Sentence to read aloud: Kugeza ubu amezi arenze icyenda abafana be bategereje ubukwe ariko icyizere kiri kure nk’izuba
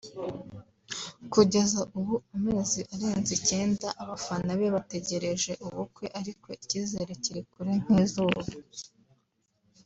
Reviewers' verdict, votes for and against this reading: accepted, 2, 0